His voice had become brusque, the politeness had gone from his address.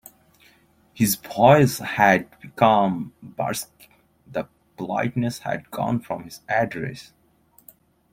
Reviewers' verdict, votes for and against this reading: rejected, 1, 2